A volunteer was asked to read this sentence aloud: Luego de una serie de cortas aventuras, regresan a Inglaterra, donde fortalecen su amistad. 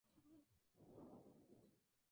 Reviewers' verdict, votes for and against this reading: rejected, 0, 2